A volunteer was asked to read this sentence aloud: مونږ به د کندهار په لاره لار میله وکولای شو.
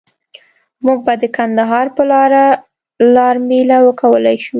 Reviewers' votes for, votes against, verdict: 2, 0, accepted